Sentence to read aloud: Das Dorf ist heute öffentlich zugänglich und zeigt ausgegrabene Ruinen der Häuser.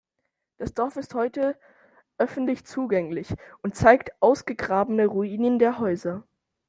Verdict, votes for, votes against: accepted, 2, 0